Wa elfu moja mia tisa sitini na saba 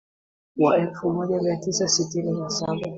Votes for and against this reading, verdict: 2, 1, accepted